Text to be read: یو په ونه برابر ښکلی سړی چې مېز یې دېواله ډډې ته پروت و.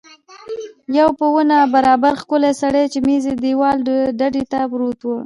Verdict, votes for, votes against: rejected, 0, 2